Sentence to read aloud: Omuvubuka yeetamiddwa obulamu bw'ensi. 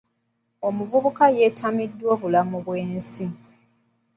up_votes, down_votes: 2, 1